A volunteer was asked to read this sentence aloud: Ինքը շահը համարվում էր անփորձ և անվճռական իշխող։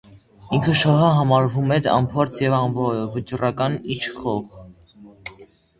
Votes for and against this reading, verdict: 0, 2, rejected